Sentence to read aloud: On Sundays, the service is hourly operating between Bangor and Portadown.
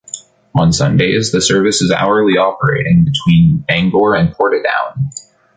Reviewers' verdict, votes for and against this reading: accepted, 2, 0